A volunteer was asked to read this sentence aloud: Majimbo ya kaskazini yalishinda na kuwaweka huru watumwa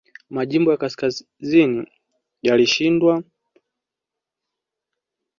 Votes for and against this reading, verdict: 2, 0, accepted